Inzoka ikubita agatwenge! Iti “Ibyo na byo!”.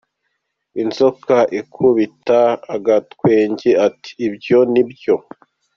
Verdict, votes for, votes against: accepted, 2, 0